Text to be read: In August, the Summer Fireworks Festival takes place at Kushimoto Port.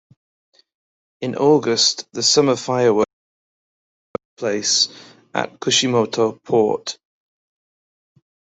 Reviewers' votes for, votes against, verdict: 0, 2, rejected